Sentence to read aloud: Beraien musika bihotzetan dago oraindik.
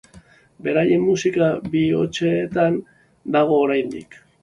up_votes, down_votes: 3, 3